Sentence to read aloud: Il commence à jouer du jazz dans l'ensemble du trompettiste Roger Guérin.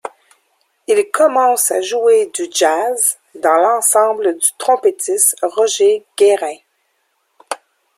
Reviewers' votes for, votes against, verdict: 3, 0, accepted